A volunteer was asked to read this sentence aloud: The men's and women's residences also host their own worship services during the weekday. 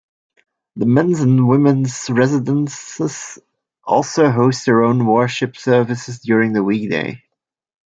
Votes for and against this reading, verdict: 2, 0, accepted